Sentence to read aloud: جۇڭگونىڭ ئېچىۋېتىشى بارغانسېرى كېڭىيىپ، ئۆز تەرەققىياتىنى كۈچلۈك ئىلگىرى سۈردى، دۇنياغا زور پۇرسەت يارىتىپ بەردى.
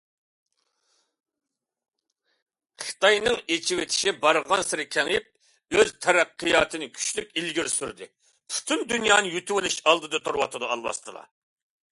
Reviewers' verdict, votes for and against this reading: rejected, 0, 2